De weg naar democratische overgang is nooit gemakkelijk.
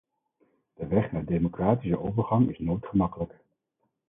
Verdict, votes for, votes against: accepted, 4, 0